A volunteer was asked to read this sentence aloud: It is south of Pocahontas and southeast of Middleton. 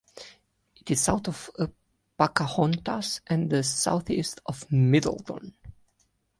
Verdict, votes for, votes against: rejected, 1, 2